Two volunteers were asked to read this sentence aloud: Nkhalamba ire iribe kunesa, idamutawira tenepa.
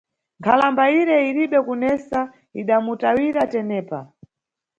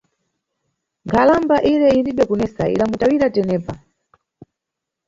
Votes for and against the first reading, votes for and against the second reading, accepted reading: 2, 0, 1, 2, first